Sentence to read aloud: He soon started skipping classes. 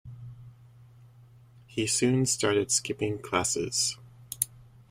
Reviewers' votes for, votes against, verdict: 2, 0, accepted